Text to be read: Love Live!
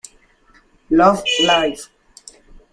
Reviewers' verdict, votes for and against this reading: rejected, 0, 2